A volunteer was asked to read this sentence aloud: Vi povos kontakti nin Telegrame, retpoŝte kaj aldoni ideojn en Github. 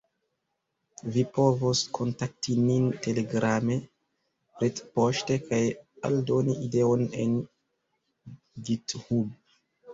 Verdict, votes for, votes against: rejected, 0, 2